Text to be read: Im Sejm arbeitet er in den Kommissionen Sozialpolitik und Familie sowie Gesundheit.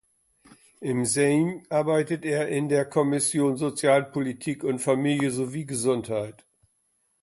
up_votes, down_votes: 0, 2